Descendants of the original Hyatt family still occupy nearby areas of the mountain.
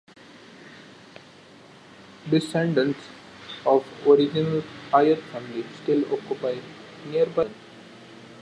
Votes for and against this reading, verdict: 0, 2, rejected